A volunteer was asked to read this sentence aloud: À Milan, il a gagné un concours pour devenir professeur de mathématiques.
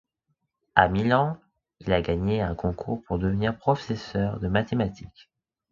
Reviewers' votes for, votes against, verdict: 2, 0, accepted